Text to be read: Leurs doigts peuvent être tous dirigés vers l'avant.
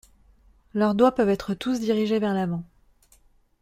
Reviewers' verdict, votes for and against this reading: accepted, 2, 0